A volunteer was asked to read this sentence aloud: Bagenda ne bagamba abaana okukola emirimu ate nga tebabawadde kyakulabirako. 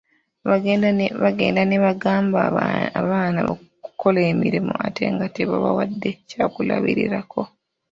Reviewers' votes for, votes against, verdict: 0, 2, rejected